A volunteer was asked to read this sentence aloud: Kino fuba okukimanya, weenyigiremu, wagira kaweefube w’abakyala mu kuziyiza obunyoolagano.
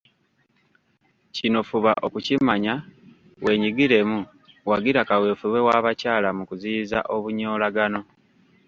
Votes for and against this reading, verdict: 1, 2, rejected